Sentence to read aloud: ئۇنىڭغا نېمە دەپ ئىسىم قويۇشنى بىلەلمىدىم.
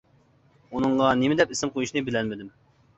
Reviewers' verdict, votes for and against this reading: accepted, 2, 0